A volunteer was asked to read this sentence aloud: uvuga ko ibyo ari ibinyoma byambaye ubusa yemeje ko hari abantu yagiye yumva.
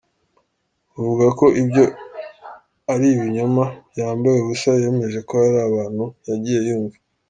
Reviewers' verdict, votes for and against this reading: accepted, 2, 0